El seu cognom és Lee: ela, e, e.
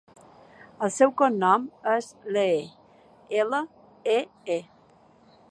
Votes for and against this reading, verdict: 2, 0, accepted